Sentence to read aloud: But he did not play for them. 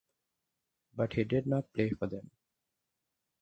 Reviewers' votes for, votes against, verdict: 4, 2, accepted